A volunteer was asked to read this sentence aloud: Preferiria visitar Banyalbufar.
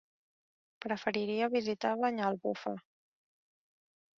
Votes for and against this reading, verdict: 0, 2, rejected